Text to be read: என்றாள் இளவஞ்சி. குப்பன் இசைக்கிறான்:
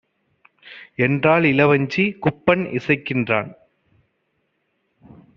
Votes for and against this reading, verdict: 1, 2, rejected